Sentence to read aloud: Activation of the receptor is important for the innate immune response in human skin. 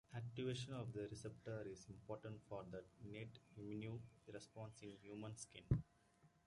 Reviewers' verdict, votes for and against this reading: rejected, 1, 2